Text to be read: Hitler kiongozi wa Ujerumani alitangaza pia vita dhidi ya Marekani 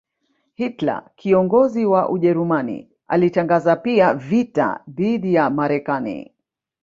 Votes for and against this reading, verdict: 0, 2, rejected